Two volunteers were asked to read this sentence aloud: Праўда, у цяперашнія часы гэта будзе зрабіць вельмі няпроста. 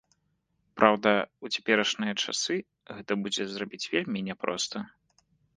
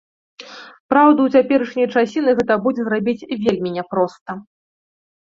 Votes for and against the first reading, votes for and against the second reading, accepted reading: 2, 0, 0, 2, first